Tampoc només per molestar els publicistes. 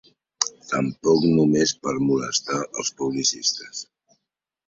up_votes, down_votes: 2, 0